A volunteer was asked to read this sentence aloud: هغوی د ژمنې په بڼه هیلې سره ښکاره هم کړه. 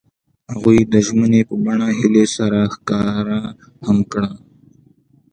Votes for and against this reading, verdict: 2, 0, accepted